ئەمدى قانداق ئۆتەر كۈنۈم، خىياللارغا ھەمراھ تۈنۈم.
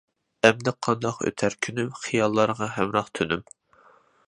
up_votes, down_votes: 2, 0